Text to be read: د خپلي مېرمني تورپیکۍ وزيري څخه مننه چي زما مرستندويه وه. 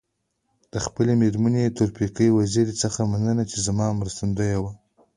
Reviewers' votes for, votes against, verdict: 2, 1, accepted